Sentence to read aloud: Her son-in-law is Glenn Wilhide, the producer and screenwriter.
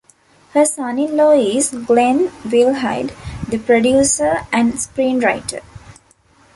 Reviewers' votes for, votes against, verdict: 2, 0, accepted